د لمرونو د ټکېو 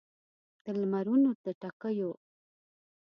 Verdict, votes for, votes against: accepted, 2, 0